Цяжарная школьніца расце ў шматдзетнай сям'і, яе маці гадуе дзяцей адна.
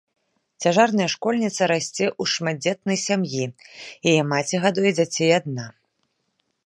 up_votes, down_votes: 1, 2